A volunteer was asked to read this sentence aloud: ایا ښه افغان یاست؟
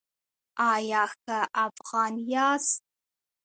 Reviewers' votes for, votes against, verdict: 1, 2, rejected